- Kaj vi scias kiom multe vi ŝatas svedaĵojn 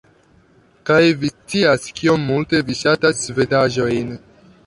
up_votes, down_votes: 1, 2